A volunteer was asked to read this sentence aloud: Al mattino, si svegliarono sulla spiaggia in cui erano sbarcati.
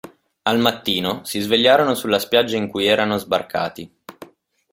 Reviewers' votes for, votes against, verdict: 2, 0, accepted